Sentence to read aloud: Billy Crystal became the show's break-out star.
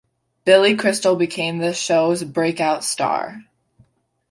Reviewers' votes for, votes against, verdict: 2, 0, accepted